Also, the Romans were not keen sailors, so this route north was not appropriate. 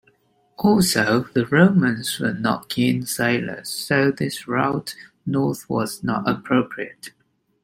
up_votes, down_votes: 2, 0